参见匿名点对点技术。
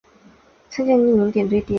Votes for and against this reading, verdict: 0, 3, rejected